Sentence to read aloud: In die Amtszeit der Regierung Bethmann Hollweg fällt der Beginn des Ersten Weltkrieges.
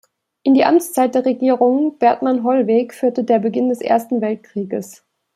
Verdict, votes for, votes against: rejected, 0, 2